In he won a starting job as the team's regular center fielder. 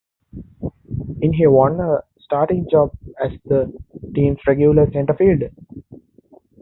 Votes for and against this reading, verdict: 0, 2, rejected